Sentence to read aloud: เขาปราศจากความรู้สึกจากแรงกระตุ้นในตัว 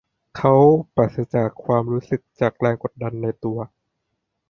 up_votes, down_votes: 0, 2